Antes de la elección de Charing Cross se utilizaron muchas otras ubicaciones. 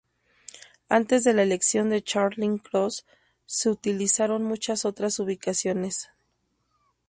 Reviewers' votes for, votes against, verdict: 2, 0, accepted